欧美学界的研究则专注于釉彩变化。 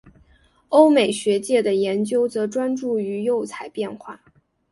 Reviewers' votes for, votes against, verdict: 4, 1, accepted